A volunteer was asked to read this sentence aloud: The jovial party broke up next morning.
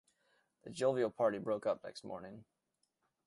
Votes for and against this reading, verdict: 1, 2, rejected